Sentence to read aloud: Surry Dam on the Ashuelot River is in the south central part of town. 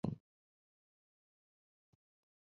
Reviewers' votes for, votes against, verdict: 0, 2, rejected